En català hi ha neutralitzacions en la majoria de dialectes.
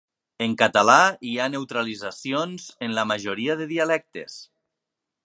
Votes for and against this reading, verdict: 3, 0, accepted